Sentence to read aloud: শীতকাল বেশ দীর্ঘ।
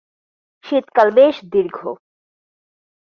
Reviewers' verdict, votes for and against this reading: accepted, 2, 0